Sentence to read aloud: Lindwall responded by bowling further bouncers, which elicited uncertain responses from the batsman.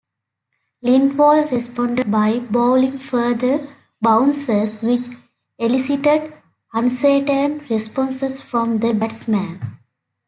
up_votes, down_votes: 2, 0